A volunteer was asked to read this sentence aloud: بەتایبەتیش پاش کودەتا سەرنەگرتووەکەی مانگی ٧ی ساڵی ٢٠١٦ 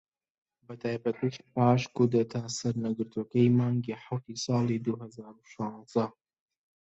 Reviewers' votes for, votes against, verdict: 0, 2, rejected